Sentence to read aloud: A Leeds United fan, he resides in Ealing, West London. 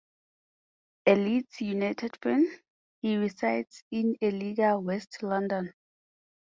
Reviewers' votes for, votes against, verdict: 4, 0, accepted